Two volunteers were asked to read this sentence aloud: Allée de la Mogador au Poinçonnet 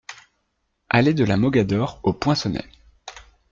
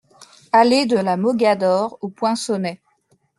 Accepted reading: first